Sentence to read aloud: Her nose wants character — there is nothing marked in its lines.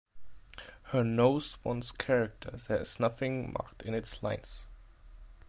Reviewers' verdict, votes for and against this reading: rejected, 1, 2